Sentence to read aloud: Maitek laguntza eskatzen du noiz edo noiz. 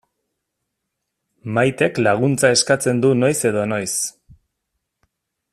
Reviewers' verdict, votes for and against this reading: accepted, 2, 0